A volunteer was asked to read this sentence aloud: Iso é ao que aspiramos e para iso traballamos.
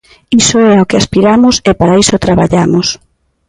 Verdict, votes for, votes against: accepted, 2, 0